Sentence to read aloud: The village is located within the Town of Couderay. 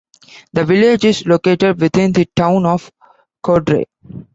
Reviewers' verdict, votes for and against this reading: accepted, 2, 1